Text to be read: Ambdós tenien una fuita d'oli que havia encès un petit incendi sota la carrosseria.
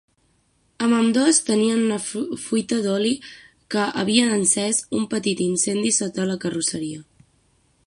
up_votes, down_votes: 3, 6